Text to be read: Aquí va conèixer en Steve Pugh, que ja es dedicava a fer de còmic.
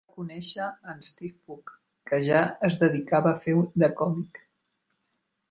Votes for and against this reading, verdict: 0, 2, rejected